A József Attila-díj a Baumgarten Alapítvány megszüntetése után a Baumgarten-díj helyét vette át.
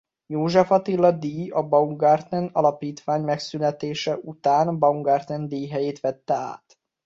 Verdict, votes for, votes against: rejected, 0, 2